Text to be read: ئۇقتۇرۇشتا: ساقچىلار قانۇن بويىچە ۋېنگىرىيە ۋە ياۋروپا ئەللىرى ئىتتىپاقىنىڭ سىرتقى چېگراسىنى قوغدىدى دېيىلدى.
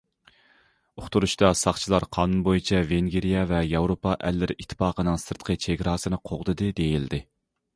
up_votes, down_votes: 2, 0